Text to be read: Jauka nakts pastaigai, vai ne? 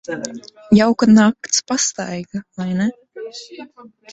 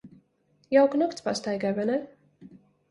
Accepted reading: second